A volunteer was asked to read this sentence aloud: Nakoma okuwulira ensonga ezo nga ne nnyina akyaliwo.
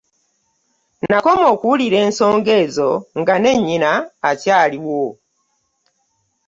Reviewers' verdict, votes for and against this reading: accepted, 2, 0